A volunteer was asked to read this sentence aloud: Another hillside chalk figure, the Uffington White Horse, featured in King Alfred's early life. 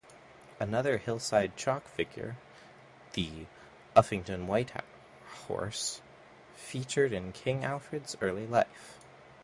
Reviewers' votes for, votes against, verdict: 1, 2, rejected